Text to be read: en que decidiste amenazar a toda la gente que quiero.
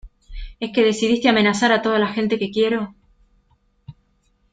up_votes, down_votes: 0, 2